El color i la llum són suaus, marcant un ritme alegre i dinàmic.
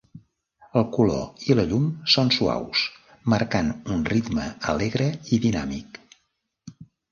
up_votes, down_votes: 1, 2